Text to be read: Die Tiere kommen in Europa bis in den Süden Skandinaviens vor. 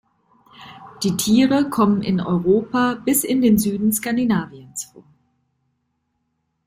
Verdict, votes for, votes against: accepted, 2, 0